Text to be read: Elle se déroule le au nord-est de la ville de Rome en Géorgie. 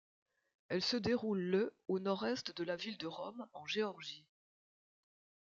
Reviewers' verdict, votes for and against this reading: rejected, 0, 2